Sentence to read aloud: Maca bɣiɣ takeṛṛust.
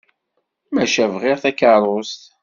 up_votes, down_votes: 2, 0